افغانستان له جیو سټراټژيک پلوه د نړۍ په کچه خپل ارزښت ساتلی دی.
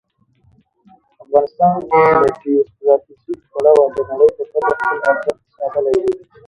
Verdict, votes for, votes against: rejected, 0, 2